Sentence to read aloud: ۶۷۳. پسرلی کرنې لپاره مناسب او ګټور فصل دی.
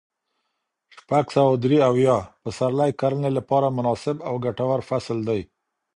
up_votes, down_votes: 0, 2